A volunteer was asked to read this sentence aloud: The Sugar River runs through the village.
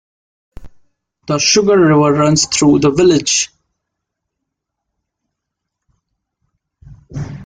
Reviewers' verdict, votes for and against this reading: accepted, 2, 0